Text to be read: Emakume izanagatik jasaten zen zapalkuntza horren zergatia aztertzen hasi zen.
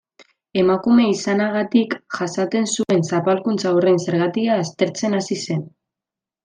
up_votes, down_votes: 0, 2